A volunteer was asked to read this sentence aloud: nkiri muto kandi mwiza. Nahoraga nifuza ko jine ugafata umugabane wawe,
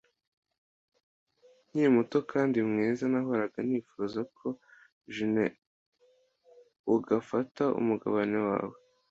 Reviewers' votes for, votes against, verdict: 2, 0, accepted